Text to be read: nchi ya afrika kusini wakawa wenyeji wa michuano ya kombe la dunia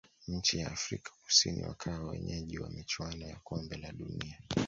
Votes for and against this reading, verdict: 2, 0, accepted